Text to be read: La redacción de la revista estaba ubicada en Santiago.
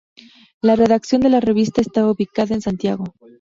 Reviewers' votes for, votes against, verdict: 2, 0, accepted